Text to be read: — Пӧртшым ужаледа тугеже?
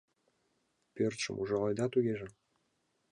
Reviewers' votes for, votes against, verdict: 2, 0, accepted